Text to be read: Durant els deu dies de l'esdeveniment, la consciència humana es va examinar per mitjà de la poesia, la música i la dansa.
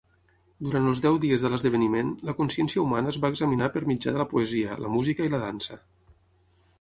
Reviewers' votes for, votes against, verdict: 6, 0, accepted